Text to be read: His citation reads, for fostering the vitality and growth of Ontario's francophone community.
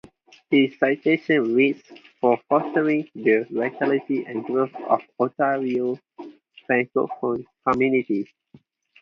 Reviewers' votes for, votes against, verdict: 2, 0, accepted